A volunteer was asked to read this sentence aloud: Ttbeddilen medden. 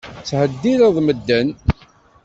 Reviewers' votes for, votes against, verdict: 1, 2, rejected